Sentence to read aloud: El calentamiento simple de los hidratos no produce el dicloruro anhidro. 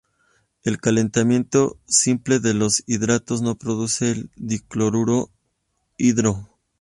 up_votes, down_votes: 0, 2